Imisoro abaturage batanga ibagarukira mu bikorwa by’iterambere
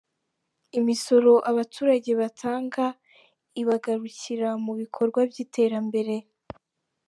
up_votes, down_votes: 2, 0